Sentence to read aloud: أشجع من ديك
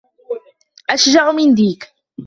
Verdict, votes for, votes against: accepted, 2, 0